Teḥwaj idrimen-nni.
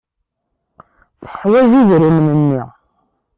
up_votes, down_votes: 1, 2